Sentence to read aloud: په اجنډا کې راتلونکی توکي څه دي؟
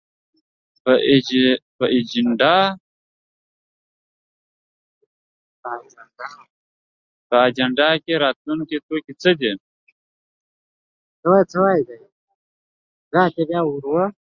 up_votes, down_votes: 0, 2